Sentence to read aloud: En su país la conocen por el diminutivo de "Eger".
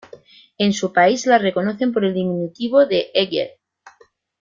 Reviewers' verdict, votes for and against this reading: rejected, 0, 2